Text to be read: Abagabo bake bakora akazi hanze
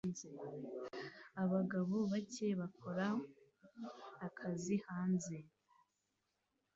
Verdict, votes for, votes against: accepted, 2, 1